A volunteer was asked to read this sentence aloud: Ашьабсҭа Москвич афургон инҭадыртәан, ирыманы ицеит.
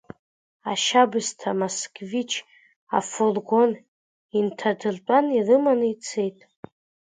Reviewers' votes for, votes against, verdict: 1, 2, rejected